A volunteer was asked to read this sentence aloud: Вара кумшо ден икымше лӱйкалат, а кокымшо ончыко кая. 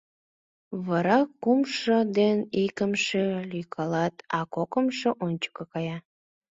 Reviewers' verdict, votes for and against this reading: accepted, 2, 0